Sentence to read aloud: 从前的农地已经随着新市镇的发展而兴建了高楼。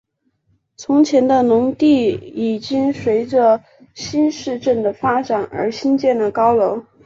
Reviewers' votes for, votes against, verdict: 4, 0, accepted